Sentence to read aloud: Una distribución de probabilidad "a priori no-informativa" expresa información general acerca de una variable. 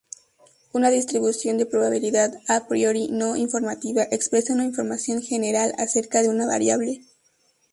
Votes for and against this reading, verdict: 4, 0, accepted